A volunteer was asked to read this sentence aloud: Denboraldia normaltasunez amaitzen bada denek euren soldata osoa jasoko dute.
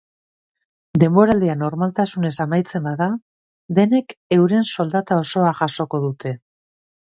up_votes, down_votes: 3, 1